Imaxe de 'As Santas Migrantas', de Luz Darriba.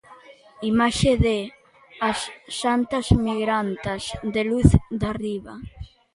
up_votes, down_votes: 2, 1